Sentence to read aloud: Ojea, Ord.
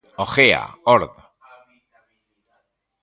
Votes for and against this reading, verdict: 1, 2, rejected